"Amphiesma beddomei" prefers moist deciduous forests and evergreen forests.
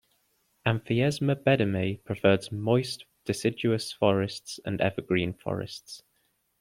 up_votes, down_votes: 2, 1